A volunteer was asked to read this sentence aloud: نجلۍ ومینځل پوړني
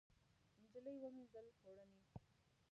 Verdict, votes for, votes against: rejected, 0, 2